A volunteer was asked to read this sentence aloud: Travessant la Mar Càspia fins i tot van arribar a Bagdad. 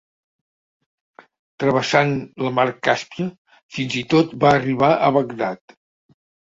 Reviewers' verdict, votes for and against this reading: rejected, 0, 2